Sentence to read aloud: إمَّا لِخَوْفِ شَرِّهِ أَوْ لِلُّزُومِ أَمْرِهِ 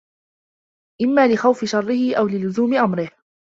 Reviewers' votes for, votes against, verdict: 2, 0, accepted